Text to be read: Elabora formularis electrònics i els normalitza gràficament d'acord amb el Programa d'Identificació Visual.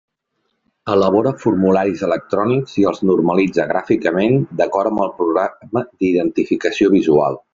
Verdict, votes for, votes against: rejected, 1, 2